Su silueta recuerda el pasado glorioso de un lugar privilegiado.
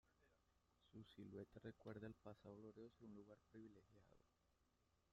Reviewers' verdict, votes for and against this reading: rejected, 0, 2